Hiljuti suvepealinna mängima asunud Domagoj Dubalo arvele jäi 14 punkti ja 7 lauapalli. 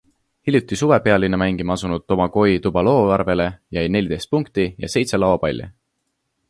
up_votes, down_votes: 0, 2